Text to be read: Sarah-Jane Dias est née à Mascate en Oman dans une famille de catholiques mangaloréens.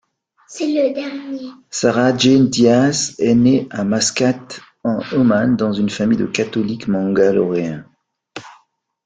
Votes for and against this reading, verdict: 1, 2, rejected